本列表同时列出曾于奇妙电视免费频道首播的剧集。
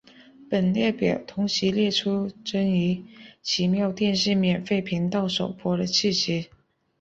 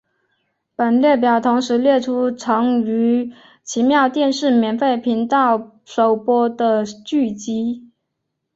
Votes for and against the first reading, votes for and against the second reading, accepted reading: 0, 2, 3, 0, second